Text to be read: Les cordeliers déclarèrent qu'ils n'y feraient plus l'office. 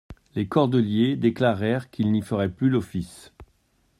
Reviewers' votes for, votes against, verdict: 2, 0, accepted